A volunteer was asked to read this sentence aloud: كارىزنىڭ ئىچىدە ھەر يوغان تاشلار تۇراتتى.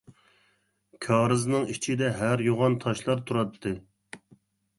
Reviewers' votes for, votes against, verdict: 2, 0, accepted